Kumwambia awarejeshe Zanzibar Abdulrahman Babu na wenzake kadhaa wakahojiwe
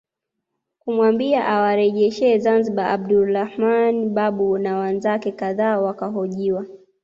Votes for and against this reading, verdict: 2, 1, accepted